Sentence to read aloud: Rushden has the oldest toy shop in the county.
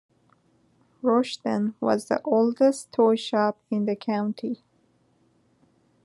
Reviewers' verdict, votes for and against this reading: rejected, 0, 2